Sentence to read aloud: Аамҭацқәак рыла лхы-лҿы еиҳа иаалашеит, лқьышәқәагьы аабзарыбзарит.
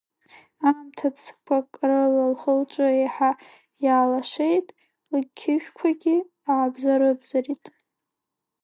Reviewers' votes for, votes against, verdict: 1, 2, rejected